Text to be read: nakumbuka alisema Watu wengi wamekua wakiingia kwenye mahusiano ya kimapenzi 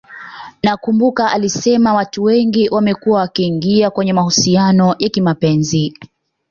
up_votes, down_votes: 2, 0